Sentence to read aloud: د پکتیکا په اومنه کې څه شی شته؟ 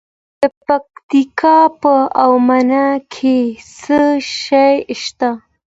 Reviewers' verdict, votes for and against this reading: accepted, 2, 0